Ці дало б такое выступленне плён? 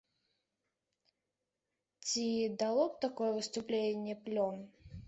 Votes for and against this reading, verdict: 2, 0, accepted